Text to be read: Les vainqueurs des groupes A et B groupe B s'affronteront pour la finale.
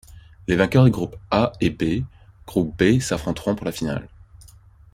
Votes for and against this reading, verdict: 2, 0, accepted